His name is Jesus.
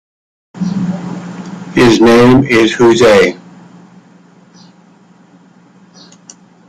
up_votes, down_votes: 0, 2